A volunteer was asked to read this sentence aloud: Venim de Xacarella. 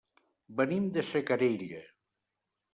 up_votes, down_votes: 2, 0